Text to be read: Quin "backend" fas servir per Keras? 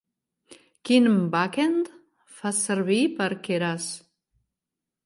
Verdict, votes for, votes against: rejected, 0, 2